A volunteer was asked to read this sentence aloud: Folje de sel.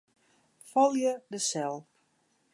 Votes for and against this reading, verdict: 2, 0, accepted